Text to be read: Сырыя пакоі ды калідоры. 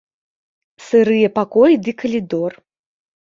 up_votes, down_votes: 0, 2